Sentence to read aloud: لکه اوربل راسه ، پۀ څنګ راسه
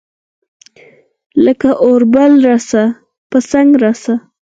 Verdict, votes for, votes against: rejected, 2, 4